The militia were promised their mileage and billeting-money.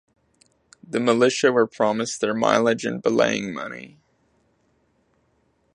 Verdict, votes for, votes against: rejected, 1, 2